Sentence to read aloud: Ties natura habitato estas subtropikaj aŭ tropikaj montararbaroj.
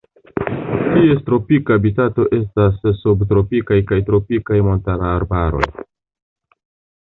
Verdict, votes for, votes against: rejected, 0, 2